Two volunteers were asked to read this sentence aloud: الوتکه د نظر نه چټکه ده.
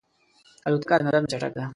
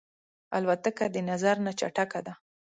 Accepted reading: second